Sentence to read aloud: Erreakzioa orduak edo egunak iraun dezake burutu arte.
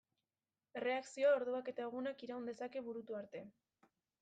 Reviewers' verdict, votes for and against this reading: accepted, 2, 0